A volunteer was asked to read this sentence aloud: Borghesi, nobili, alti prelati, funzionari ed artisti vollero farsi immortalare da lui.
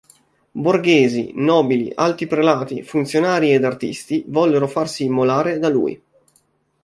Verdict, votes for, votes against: rejected, 0, 3